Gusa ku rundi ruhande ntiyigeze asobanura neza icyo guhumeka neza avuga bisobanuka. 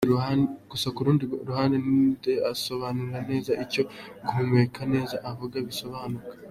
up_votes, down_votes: 0, 2